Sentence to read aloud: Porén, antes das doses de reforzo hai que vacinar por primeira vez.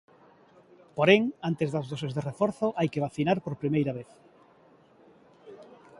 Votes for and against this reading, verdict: 2, 0, accepted